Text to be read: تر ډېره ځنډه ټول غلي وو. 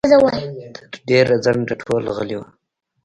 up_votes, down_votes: 0, 2